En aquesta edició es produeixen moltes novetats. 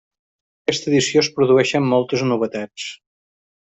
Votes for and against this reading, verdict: 0, 2, rejected